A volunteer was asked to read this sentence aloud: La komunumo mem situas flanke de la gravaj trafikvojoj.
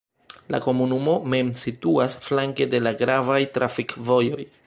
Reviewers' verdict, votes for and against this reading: rejected, 1, 2